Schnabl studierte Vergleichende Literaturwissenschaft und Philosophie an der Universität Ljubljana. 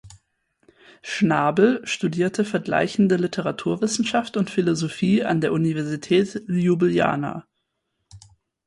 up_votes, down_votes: 2, 4